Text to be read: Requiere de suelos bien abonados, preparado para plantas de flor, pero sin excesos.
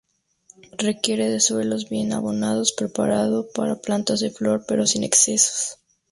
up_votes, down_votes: 2, 0